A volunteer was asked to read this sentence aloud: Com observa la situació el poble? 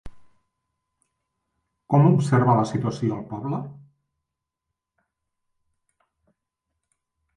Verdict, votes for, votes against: rejected, 1, 2